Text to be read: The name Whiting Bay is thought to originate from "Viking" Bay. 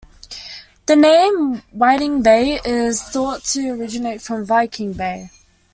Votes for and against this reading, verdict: 2, 1, accepted